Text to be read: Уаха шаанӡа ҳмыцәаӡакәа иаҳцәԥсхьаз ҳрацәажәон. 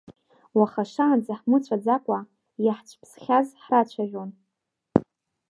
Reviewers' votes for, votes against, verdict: 2, 0, accepted